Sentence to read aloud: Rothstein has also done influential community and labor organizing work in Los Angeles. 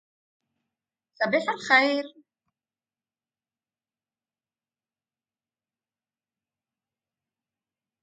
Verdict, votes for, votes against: rejected, 0, 2